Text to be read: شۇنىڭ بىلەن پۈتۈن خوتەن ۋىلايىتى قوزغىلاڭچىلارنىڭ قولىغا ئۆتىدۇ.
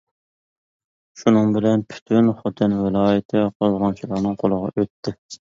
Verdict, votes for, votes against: rejected, 0, 2